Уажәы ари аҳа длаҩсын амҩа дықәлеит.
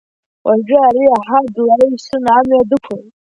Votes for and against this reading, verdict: 0, 2, rejected